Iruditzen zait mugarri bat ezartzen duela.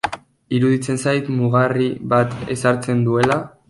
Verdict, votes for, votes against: rejected, 1, 2